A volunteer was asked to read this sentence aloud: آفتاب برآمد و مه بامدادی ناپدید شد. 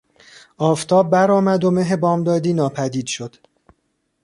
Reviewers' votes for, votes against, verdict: 2, 0, accepted